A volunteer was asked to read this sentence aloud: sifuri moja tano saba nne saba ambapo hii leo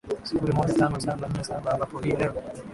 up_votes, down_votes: 1, 2